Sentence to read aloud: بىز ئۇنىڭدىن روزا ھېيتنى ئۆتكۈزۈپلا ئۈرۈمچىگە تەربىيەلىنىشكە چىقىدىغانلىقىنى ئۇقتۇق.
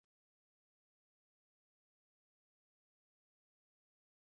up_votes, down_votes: 0, 2